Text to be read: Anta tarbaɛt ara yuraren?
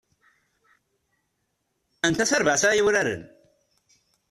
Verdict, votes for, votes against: rejected, 1, 2